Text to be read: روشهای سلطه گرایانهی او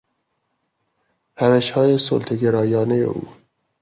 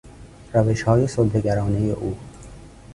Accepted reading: first